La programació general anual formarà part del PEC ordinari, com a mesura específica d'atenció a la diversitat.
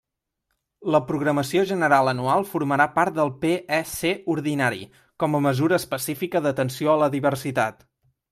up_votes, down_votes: 1, 2